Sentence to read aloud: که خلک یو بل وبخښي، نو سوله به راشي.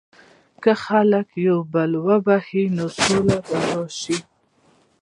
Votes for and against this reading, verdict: 0, 2, rejected